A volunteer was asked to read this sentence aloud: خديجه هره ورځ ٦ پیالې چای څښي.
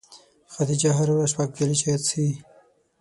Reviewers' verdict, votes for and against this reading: rejected, 0, 2